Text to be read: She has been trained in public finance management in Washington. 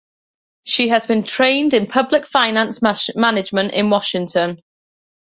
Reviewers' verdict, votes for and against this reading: rejected, 0, 2